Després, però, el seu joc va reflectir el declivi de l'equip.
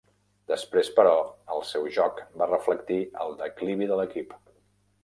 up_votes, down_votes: 3, 0